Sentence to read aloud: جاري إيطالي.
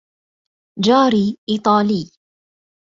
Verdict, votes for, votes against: accepted, 2, 1